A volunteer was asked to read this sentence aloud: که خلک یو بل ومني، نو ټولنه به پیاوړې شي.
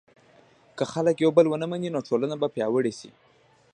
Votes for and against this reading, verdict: 0, 2, rejected